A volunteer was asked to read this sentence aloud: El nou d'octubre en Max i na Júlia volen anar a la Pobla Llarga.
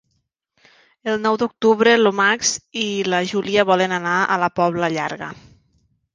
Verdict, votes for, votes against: rejected, 0, 2